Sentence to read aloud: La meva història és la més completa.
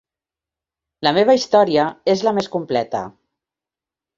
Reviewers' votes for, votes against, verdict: 4, 0, accepted